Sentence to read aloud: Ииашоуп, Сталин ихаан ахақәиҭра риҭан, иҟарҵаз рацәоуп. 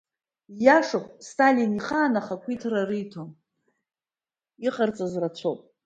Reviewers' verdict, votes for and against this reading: rejected, 1, 2